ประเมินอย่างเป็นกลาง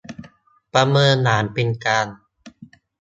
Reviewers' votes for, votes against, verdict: 1, 2, rejected